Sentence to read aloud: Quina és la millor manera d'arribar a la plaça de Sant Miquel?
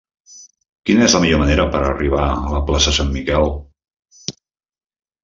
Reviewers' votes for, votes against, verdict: 1, 2, rejected